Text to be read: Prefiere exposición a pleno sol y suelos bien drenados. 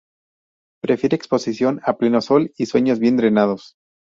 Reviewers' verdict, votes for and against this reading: rejected, 0, 2